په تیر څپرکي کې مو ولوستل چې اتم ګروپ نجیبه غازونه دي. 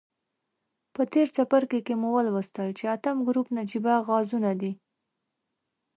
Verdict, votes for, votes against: accepted, 2, 0